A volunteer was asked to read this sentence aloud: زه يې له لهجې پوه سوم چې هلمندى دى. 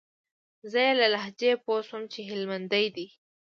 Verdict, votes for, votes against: accepted, 2, 1